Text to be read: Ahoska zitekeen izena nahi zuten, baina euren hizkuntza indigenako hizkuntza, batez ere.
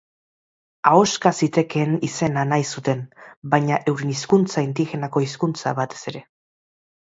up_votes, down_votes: 3, 0